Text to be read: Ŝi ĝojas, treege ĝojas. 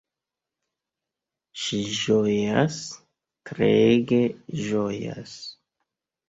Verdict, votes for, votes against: accepted, 2, 0